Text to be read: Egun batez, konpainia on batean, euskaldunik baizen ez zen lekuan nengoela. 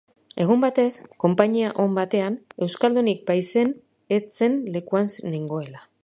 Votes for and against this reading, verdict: 2, 2, rejected